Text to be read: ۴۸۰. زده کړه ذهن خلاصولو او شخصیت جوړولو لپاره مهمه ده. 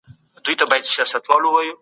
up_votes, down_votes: 0, 2